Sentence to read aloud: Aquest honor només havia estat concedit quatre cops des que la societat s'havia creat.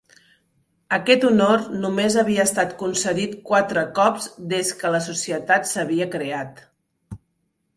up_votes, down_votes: 2, 0